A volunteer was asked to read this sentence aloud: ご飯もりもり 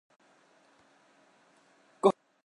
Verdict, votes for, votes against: rejected, 0, 4